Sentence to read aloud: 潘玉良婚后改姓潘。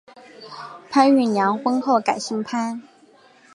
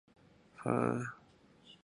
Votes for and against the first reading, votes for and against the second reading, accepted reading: 3, 1, 1, 2, first